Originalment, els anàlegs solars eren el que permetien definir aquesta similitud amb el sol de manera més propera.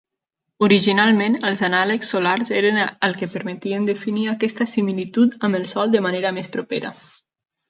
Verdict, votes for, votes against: accepted, 3, 0